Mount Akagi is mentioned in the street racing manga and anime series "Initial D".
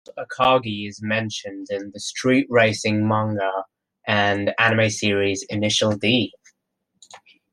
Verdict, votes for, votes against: accepted, 2, 0